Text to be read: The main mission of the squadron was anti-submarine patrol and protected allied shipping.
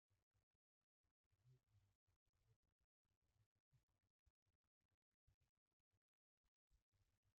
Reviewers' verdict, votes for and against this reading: rejected, 0, 2